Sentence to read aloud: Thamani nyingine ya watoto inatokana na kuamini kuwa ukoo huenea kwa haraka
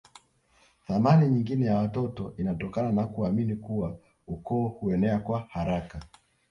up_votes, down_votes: 6, 0